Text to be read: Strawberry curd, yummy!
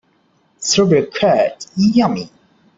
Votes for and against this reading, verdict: 2, 0, accepted